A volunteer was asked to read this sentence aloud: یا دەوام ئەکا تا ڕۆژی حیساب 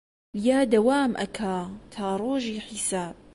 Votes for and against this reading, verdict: 2, 0, accepted